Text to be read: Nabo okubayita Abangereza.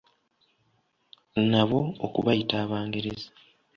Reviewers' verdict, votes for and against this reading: accepted, 2, 0